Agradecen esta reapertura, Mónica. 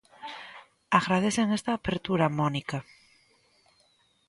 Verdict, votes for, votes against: rejected, 0, 2